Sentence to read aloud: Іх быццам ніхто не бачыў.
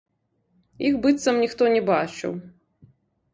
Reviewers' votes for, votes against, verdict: 0, 2, rejected